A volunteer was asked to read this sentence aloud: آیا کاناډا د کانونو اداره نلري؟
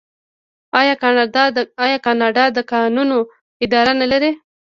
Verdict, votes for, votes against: rejected, 1, 2